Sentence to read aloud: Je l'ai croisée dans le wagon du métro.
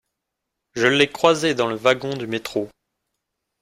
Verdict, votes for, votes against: accepted, 2, 0